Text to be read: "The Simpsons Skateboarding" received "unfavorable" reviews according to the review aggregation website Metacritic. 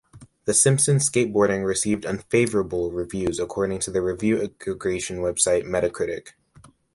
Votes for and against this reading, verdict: 0, 2, rejected